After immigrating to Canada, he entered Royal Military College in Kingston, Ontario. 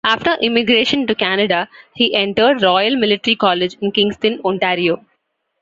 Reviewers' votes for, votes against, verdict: 1, 2, rejected